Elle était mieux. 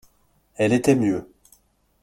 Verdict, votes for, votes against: accepted, 2, 0